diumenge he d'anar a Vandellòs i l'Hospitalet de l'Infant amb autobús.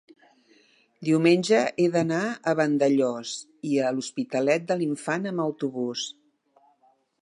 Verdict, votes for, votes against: rejected, 0, 3